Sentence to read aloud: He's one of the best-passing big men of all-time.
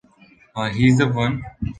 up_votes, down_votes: 0, 2